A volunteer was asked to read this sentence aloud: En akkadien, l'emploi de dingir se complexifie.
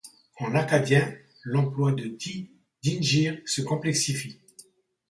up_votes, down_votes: 0, 2